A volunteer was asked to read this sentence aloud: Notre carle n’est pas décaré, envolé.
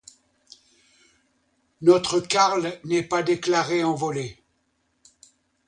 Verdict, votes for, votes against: rejected, 0, 2